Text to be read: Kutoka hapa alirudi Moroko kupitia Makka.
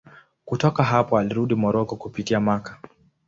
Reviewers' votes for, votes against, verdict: 2, 0, accepted